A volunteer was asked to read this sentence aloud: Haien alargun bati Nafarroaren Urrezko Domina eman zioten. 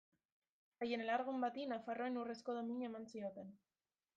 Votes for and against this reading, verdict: 2, 1, accepted